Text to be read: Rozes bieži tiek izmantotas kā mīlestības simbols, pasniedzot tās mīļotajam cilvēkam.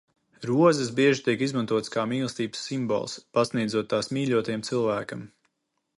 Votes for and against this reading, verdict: 2, 0, accepted